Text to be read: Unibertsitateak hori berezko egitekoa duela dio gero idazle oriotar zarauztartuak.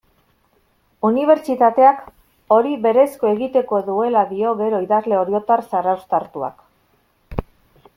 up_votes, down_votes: 2, 0